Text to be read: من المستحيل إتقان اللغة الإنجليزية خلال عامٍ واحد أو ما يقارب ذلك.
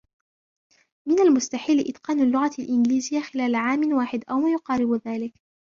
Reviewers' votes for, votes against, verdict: 1, 2, rejected